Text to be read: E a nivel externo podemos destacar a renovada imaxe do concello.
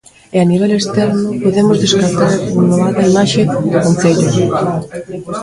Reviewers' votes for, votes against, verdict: 0, 2, rejected